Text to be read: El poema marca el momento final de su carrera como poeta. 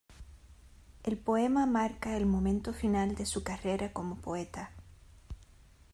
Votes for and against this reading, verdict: 2, 0, accepted